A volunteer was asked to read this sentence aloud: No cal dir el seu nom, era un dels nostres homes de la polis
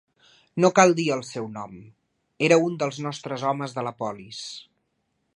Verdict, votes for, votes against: accepted, 3, 0